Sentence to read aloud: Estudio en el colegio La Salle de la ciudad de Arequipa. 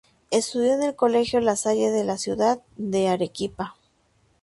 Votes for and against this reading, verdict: 2, 0, accepted